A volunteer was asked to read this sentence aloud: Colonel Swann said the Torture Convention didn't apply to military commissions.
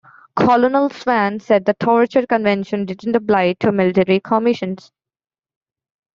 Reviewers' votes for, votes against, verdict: 2, 0, accepted